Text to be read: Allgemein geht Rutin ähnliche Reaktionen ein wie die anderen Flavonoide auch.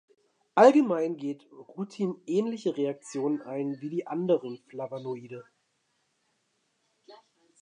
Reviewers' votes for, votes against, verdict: 0, 2, rejected